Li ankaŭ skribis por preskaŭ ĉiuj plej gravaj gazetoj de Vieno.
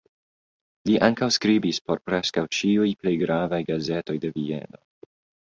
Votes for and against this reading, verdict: 2, 0, accepted